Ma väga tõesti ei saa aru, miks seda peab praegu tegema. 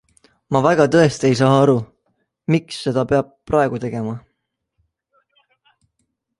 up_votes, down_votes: 2, 0